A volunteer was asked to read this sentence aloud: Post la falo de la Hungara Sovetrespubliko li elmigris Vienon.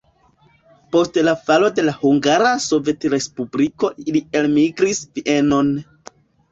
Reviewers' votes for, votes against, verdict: 1, 2, rejected